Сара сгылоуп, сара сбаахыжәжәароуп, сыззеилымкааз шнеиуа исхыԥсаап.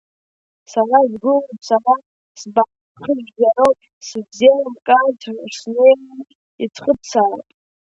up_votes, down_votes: 0, 2